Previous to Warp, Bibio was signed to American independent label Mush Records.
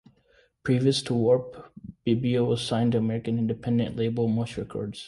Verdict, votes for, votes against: accepted, 2, 0